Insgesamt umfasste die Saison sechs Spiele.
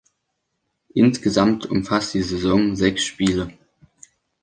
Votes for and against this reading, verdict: 1, 2, rejected